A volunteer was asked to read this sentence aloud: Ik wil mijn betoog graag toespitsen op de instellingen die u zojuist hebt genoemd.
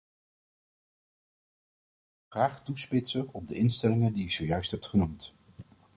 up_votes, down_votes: 0, 2